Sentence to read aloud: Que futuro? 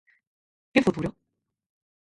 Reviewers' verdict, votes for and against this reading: rejected, 0, 4